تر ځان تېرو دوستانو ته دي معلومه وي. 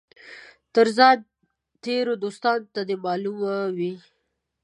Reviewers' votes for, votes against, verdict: 2, 0, accepted